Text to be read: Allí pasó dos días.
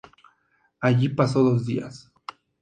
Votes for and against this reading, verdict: 2, 0, accepted